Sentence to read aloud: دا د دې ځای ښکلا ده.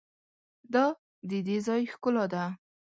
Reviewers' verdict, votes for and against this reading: accepted, 2, 0